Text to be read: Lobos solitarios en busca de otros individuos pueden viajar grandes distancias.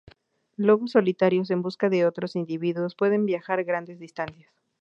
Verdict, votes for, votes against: accepted, 2, 0